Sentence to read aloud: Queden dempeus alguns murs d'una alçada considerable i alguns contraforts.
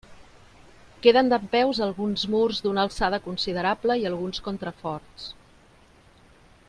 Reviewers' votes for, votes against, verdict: 2, 0, accepted